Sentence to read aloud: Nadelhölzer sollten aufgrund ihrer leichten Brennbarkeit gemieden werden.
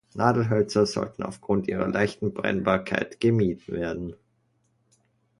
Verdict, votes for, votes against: rejected, 1, 2